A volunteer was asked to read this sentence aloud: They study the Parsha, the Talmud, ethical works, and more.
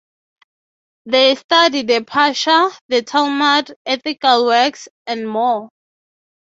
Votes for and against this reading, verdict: 6, 0, accepted